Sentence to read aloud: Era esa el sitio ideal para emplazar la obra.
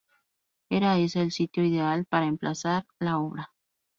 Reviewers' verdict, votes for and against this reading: accepted, 2, 0